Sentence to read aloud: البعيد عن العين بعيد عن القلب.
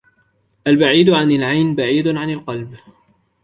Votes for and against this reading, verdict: 2, 1, accepted